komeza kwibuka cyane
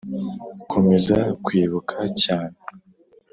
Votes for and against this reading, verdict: 2, 0, accepted